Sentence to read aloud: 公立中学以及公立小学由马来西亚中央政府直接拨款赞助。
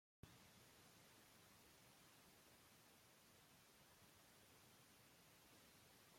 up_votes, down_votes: 0, 2